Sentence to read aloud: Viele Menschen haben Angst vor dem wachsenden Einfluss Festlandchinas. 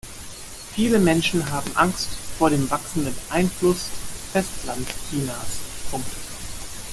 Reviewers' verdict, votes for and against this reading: rejected, 1, 2